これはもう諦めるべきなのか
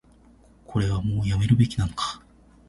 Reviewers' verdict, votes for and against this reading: rejected, 1, 2